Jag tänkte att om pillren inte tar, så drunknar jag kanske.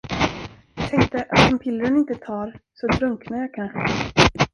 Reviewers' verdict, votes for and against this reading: rejected, 0, 2